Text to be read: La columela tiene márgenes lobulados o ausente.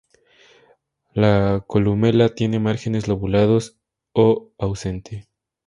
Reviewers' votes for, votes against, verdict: 2, 0, accepted